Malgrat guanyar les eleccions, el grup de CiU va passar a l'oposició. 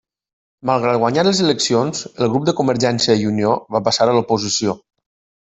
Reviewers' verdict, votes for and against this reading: rejected, 0, 2